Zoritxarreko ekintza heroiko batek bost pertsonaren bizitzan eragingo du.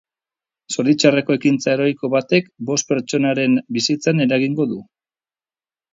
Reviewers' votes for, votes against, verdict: 0, 2, rejected